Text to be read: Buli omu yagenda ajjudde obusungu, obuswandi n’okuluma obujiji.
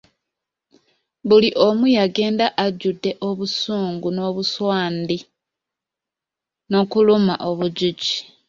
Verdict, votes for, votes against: accepted, 2, 1